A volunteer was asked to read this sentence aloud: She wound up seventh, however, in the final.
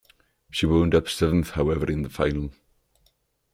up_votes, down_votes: 2, 0